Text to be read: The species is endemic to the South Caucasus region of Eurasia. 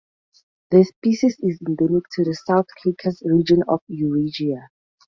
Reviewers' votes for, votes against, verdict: 2, 0, accepted